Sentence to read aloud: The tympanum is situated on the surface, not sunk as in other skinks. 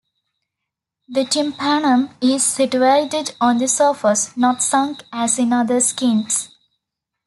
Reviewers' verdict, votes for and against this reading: accepted, 2, 0